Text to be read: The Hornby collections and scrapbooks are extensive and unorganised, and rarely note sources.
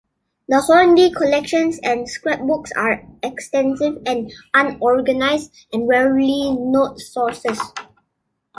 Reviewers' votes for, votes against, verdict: 2, 0, accepted